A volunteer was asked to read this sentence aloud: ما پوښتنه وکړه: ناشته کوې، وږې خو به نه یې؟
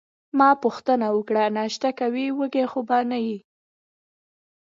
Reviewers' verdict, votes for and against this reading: rejected, 1, 2